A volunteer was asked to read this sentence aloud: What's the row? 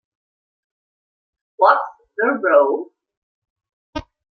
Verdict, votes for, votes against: rejected, 1, 2